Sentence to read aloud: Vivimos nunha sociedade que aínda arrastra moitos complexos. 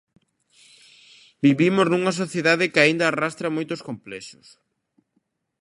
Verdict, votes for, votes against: accepted, 2, 1